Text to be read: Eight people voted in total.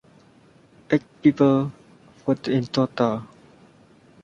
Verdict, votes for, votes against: rejected, 0, 2